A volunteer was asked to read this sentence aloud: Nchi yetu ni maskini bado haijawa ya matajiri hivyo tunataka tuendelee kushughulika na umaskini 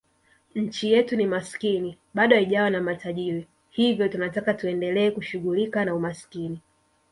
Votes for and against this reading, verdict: 2, 3, rejected